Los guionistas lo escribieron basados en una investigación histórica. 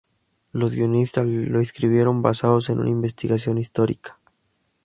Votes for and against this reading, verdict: 2, 0, accepted